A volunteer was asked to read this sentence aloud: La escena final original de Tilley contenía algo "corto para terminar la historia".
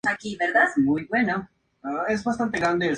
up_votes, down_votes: 0, 2